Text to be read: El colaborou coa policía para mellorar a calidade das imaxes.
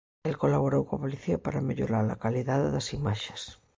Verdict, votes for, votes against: accepted, 2, 0